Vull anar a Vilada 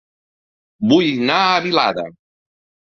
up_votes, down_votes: 0, 2